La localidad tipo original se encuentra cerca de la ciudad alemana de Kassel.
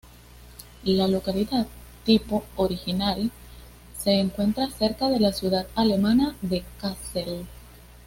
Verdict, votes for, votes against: accepted, 2, 0